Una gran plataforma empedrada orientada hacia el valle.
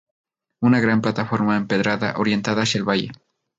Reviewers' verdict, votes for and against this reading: accepted, 2, 0